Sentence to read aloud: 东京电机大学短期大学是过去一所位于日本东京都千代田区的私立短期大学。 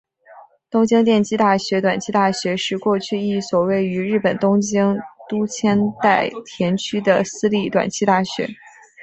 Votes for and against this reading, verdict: 2, 0, accepted